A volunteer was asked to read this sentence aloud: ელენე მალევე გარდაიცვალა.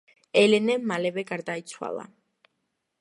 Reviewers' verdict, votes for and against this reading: accepted, 2, 1